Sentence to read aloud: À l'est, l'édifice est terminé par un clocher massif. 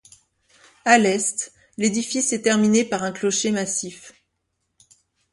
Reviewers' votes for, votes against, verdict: 2, 0, accepted